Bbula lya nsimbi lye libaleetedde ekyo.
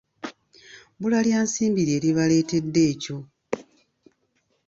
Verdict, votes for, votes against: accepted, 2, 0